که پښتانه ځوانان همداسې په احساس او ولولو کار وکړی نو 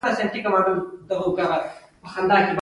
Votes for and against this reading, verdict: 1, 2, rejected